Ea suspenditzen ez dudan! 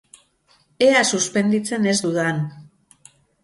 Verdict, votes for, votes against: accepted, 4, 0